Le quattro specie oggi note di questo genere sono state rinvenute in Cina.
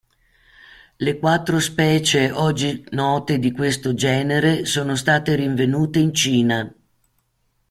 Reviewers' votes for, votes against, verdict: 2, 0, accepted